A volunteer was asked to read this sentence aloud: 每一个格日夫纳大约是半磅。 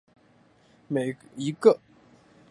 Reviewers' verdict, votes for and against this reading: rejected, 1, 4